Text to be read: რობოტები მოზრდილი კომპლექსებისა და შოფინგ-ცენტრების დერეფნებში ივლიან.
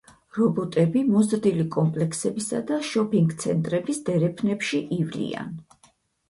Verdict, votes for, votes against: accepted, 4, 0